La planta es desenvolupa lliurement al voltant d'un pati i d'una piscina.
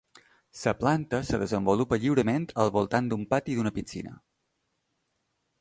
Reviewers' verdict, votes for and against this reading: rejected, 0, 2